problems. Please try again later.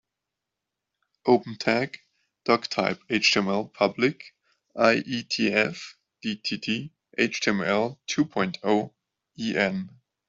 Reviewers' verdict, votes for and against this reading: rejected, 0, 3